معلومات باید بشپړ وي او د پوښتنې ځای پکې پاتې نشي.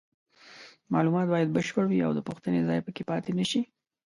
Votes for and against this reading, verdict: 2, 0, accepted